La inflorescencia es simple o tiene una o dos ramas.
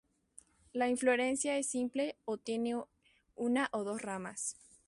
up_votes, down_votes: 2, 2